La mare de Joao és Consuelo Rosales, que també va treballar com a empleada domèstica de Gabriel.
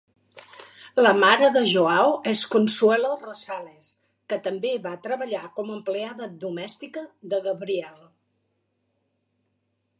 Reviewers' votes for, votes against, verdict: 3, 0, accepted